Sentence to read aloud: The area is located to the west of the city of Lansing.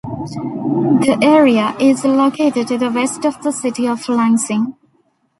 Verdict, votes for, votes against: accepted, 2, 0